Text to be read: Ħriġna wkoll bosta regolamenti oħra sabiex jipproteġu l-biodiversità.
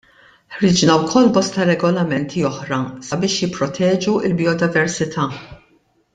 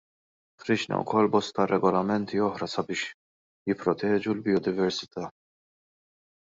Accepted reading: first